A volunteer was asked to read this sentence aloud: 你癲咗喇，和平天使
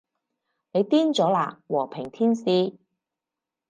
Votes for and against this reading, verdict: 4, 0, accepted